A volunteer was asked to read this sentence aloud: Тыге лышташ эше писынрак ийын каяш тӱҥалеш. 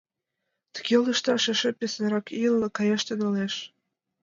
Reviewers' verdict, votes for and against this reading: accepted, 2, 1